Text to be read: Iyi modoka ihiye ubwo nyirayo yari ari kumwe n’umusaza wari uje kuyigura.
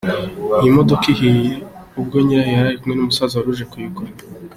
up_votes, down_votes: 3, 1